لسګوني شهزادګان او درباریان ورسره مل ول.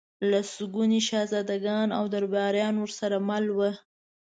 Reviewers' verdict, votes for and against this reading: accepted, 2, 0